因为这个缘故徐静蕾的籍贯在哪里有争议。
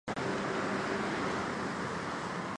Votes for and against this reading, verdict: 0, 5, rejected